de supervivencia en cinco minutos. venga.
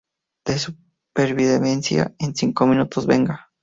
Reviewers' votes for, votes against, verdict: 0, 2, rejected